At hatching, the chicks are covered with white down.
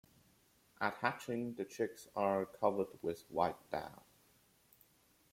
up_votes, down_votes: 2, 1